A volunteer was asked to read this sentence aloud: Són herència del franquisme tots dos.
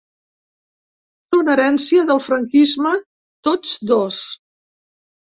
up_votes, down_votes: 0, 2